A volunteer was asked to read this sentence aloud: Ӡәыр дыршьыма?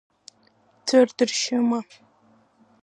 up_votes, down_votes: 2, 1